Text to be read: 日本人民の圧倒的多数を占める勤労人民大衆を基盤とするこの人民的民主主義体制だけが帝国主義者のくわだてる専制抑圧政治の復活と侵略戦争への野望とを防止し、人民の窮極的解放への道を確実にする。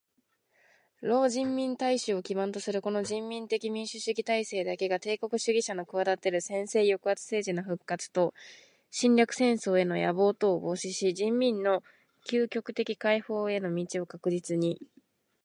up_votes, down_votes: 0, 2